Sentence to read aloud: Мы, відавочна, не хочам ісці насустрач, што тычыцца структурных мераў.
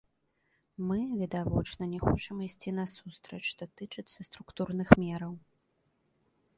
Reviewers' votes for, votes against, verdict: 2, 0, accepted